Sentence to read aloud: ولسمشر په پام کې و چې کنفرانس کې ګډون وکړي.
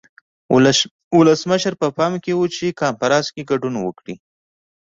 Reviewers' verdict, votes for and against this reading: rejected, 0, 2